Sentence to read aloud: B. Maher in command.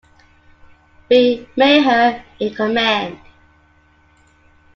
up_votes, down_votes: 1, 2